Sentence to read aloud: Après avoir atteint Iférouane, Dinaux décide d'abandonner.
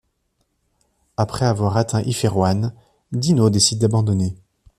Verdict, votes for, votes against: accepted, 2, 0